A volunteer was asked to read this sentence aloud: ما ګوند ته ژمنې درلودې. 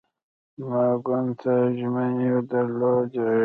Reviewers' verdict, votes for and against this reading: rejected, 0, 2